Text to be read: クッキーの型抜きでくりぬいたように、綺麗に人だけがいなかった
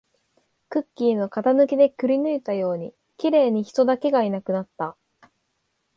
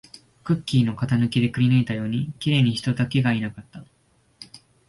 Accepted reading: second